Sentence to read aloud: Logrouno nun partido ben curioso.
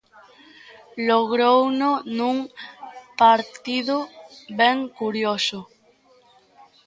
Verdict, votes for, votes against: accepted, 2, 0